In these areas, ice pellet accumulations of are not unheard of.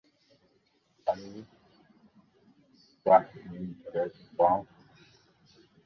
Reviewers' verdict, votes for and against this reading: rejected, 0, 2